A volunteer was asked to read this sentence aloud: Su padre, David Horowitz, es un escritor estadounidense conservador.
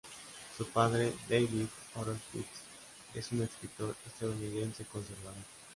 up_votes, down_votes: 2, 0